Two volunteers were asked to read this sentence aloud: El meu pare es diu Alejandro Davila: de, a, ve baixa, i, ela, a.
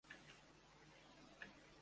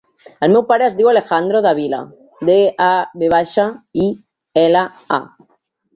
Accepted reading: second